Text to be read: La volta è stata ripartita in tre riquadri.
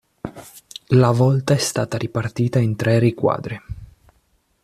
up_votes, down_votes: 2, 0